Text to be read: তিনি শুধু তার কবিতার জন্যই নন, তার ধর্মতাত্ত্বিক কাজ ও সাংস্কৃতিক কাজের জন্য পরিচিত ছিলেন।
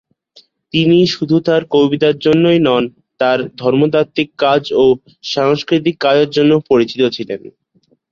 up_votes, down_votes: 4, 0